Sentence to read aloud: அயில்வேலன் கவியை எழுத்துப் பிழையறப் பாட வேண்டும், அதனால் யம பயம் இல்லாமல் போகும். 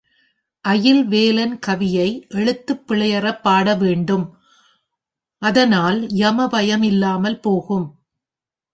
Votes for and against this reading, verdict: 3, 0, accepted